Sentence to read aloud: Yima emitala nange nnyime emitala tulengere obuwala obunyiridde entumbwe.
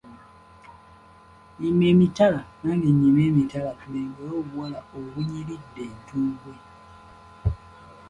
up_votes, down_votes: 2, 0